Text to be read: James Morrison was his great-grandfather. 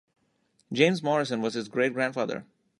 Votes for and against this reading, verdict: 3, 0, accepted